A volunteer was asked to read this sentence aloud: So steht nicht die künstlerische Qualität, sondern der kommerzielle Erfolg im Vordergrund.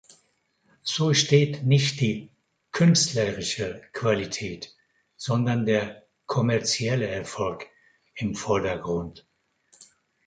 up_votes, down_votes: 2, 1